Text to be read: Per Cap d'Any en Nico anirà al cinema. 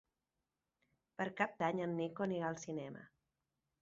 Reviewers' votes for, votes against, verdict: 3, 0, accepted